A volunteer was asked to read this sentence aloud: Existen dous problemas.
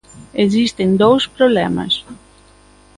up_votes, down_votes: 2, 0